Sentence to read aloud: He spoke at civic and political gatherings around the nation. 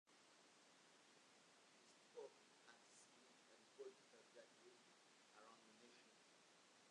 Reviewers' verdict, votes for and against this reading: rejected, 0, 2